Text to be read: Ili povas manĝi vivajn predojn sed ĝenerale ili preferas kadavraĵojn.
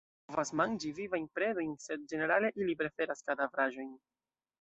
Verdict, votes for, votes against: rejected, 1, 2